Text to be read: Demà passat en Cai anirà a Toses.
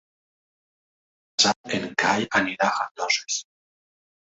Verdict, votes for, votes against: rejected, 1, 2